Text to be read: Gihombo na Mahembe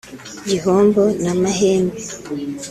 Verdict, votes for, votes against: accepted, 2, 0